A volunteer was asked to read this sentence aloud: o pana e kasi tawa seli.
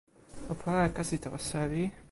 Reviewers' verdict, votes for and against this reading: rejected, 1, 2